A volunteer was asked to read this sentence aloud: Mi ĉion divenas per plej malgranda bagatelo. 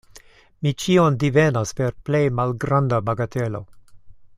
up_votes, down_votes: 2, 0